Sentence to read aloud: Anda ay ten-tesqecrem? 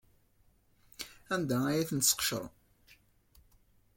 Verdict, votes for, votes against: accepted, 2, 0